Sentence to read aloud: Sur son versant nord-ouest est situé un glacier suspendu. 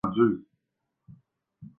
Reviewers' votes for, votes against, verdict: 0, 2, rejected